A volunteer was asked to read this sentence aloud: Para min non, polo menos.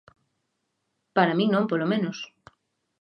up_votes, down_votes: 2, 0